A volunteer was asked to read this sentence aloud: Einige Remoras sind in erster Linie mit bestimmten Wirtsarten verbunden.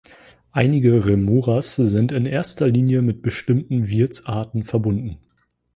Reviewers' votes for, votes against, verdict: 3, 0, accepted